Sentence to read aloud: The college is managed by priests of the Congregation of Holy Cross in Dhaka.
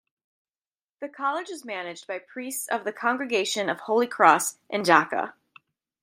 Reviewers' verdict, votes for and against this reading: accepted, 2, 0